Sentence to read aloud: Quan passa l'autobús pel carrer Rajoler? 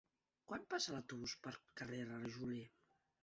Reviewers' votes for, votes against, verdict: 1, 2, rejected